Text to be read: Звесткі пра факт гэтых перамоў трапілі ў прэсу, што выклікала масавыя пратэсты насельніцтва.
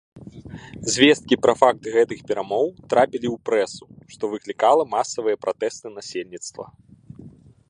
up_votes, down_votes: 2, 1